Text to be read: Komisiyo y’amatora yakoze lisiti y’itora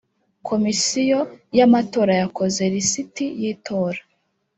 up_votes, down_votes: 2, 0